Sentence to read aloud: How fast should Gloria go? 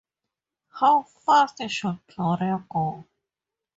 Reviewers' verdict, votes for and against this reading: accepted, 4, 0